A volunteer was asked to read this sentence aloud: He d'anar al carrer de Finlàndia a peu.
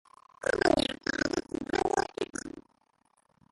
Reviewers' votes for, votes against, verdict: 0, 2, rejected